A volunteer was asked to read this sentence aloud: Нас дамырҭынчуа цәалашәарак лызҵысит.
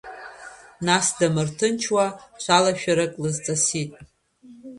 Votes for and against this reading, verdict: 1, 2, rejected